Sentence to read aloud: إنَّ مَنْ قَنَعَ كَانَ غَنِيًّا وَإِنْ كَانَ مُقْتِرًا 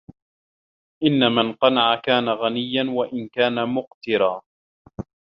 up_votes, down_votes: 2, 0